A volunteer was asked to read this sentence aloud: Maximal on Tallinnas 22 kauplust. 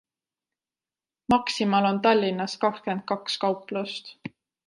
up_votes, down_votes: 0, 2